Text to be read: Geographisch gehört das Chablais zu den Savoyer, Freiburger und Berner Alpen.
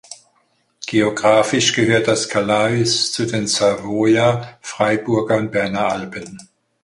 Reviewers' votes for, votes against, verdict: 2, 4, rejected